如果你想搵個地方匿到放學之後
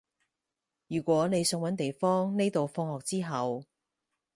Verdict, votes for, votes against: rejected, 0, 4